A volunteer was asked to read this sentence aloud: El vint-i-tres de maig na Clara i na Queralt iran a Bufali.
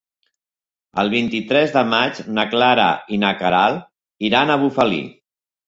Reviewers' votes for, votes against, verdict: 1, 3, rejected